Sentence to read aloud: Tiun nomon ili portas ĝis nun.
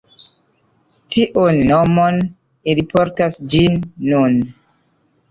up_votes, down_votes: 0, 2